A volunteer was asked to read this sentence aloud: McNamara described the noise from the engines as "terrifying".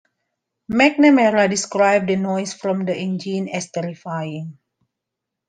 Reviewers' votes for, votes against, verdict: 2, 0, accepted